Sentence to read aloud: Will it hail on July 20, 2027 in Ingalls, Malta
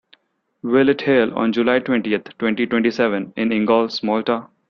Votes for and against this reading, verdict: 0, 2, rejected